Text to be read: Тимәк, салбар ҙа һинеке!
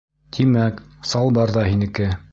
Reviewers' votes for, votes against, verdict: 2, 0, accepted